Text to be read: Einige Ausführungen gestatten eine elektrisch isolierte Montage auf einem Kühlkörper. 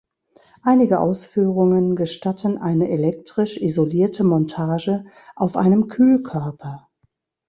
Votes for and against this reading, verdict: 2, 0, accepted